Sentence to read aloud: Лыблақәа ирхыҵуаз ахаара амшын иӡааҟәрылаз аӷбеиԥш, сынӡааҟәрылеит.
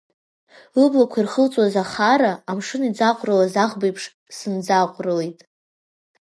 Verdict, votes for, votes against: rejected, 0, 2